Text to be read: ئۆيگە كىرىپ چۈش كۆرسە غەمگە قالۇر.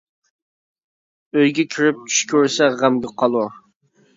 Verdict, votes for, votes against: rejected, 0, 2